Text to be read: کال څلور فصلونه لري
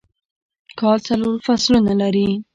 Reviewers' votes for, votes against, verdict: 2, 0, accepted